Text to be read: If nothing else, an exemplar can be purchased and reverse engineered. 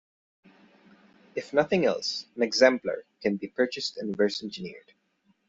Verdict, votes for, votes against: accepted, 2, 0